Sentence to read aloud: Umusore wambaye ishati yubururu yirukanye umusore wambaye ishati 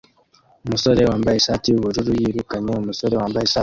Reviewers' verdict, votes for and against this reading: accepted, 2, 1